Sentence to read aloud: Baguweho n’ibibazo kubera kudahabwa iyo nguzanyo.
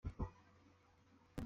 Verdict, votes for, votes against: rejected, 0, 2